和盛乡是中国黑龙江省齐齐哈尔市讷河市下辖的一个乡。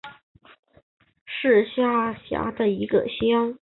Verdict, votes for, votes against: rejected, 0, 3